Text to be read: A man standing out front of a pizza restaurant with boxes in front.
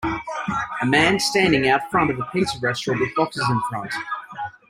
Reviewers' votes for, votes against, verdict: 2, 0, accepted